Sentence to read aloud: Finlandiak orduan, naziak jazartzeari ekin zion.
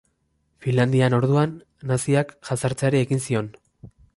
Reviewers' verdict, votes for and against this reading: rejected, 0, 2